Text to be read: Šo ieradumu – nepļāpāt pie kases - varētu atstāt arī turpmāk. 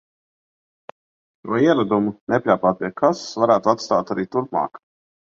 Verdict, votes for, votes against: rejected, 0, 2